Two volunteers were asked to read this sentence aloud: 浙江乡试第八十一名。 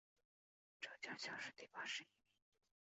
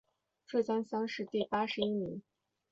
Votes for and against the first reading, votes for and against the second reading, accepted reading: 2, 3, 3, 0, second